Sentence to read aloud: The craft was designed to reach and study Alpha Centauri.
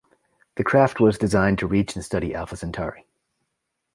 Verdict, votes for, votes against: accepted, 2, 0